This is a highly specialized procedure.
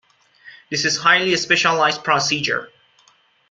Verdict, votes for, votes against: rejected, 1, 2